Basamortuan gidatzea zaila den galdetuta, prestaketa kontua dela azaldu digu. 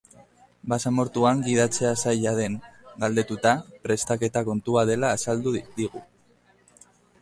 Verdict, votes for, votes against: accepted, 2, 1